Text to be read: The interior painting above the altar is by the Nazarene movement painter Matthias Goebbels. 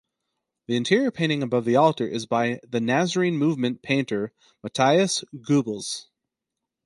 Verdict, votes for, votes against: rejected, 2, 2